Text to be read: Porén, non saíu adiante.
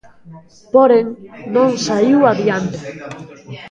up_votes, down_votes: 0, 2